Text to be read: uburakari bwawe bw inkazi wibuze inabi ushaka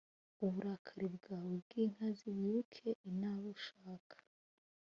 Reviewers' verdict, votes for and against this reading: rejected, 2, 3